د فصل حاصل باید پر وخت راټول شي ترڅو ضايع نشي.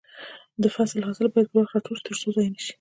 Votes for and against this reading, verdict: 2, 0, accepted